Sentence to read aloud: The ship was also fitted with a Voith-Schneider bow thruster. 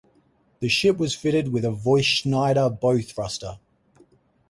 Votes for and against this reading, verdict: 2, 2, rejected